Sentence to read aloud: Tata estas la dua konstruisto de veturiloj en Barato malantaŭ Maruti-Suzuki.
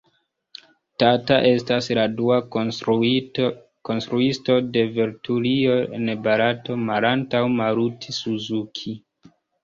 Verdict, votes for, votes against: rejected, 0, 3